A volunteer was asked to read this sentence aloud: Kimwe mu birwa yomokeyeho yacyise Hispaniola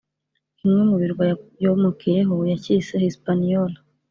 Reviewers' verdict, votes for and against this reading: accepted, 2, 0